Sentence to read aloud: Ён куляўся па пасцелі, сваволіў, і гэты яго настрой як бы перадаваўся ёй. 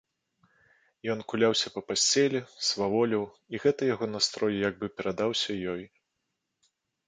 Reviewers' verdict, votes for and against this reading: rejected, 1, 2